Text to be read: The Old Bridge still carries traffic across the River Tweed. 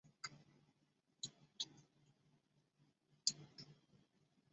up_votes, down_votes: 0, 2